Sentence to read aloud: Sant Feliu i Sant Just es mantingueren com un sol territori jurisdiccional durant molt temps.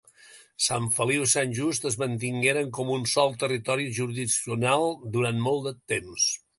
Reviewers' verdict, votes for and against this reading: rejected, 1, 2